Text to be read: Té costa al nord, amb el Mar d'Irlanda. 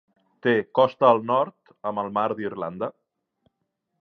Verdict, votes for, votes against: accepted, 3, 0